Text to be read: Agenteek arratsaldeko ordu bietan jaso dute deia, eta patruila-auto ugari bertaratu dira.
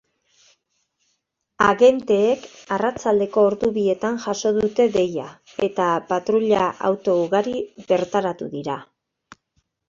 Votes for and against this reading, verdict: 3, 0, accepted